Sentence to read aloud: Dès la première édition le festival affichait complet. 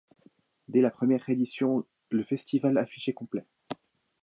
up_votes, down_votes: 1, 2